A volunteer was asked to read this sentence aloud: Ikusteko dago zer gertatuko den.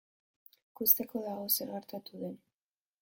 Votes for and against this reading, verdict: 0, 2, rejected